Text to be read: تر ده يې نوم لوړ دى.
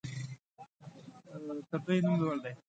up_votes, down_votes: 0, 2